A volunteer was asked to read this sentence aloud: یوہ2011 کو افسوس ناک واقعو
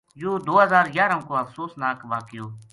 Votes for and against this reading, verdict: 0, 2, rejected